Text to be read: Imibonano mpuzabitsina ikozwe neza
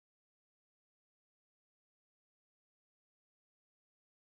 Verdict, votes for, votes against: rejected, 3, 4